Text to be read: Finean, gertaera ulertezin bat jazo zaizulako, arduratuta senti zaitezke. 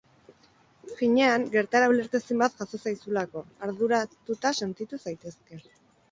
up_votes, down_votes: 0, 4